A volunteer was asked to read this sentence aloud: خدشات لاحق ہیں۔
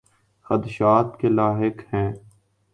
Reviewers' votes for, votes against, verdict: 0, 3, rejected